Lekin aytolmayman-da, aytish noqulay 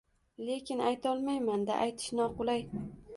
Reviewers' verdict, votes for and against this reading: accepted, 2, 0